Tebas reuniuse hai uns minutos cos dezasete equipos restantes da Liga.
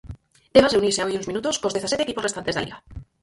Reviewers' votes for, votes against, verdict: 0, 4, rejected